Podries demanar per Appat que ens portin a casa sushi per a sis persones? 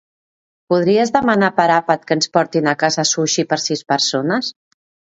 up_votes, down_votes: 1, 2